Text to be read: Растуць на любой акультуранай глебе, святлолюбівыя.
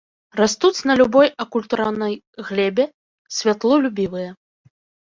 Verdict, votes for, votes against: rejected, 1, 3